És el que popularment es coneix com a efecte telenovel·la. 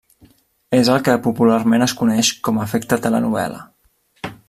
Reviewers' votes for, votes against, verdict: 2, 0, accepted